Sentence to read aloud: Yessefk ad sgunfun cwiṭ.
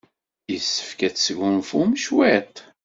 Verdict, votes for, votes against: rejected, 1, 2